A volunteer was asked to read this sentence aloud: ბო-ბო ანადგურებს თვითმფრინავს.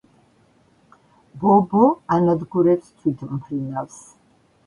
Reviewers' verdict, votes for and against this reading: accepted, 2, 0